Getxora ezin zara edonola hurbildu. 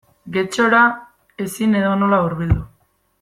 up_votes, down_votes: 0, 2